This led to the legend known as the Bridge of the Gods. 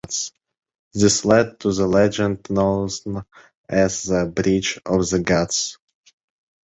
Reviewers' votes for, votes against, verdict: 1, 2, rejected